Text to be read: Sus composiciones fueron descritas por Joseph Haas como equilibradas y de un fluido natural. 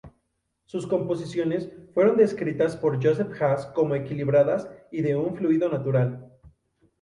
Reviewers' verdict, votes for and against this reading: accepted, 2, 0